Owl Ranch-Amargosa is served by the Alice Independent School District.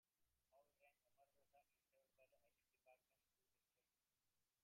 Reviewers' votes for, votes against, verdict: 0, 3, rejected